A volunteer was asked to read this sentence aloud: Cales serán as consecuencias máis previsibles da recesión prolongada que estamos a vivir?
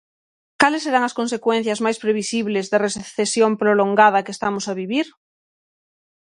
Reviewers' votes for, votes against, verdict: 0, 6, rejected